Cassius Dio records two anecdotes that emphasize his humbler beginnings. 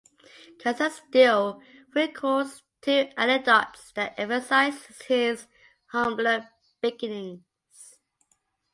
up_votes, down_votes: 1, 2